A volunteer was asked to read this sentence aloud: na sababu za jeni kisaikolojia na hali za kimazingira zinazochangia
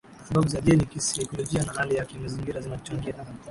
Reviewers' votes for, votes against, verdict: 2, 1, accepted